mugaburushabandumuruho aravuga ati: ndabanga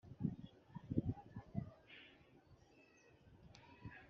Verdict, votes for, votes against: rejected, 1, 2